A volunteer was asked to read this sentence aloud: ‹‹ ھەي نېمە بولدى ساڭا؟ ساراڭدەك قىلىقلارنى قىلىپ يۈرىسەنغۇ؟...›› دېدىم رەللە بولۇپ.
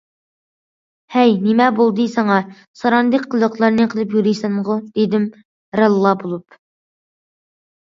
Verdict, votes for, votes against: rejected, 1, 2